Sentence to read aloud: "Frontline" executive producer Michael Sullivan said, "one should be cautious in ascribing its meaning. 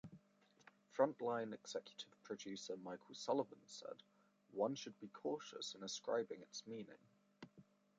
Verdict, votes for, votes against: accepted, 2, 0